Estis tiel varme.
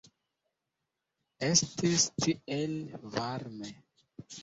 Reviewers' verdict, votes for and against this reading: rejected, 1, 2